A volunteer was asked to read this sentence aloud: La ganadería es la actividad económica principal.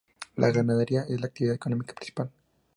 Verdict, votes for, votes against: accepted, 2, 0